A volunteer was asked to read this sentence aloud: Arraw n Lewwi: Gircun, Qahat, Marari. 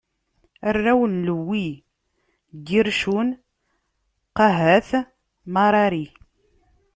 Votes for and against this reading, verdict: 2, 0, accepted